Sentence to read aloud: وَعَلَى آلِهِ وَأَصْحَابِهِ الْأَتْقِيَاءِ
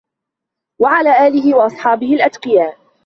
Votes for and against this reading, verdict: 2, 1, accepted